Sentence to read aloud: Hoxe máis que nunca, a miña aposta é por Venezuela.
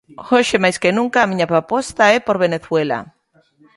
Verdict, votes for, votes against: rejected, 0, 2